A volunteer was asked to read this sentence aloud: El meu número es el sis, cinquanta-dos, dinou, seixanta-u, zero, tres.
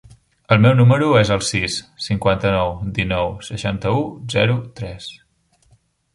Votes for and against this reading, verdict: 0, 2, rejected